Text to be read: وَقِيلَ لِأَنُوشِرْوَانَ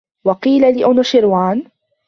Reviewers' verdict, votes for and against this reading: rejected, 1, 2